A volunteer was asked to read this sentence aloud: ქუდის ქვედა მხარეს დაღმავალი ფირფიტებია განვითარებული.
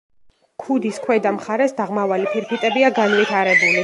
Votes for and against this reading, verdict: 1, 2, rejected